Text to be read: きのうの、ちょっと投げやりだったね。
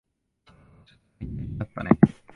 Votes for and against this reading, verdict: 0, 2, rejected